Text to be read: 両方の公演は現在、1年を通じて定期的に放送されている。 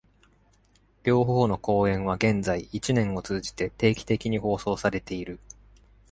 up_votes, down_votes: 0, 2